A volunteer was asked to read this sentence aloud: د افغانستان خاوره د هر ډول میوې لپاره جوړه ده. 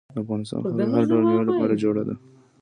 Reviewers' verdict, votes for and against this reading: accepted, 2, 0